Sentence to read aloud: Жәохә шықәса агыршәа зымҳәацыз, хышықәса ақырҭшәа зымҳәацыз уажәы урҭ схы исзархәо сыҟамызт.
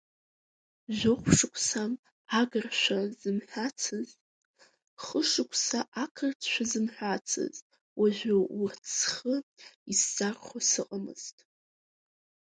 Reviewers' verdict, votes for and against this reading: accepted, 2, 0